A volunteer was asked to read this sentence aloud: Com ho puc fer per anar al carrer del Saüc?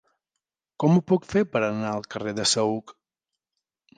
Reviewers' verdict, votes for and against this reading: rejected, 1, 2